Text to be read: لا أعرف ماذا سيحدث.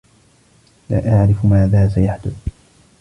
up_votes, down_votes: 2, 1